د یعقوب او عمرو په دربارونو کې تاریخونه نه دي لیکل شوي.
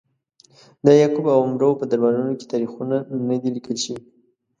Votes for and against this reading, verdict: 1, 2, rejected